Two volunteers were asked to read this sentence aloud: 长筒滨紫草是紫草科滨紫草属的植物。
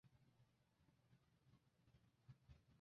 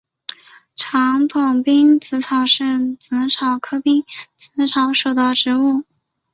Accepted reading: second